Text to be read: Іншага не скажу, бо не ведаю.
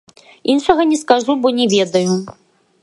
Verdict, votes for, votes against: rejected, 0, 2